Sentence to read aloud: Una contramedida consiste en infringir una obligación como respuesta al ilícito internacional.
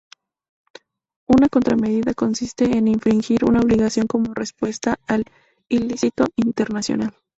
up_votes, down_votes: 2, 4